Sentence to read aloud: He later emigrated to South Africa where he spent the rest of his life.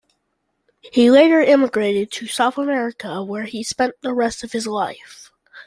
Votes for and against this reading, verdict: 0, 2, rejected